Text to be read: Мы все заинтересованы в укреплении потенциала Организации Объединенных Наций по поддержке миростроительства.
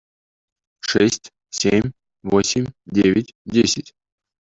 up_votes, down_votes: 0, 2